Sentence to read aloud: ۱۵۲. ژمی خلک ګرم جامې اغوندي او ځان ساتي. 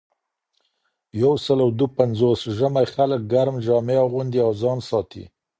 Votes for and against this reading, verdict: 0, 2, rejected